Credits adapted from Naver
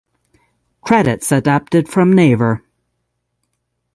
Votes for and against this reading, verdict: 6, 0, accepted